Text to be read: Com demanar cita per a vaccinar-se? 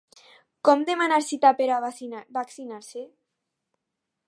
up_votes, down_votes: 0, 2